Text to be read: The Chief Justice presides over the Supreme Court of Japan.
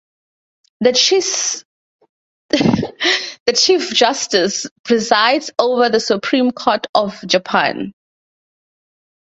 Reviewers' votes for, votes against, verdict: 0, 4, rejected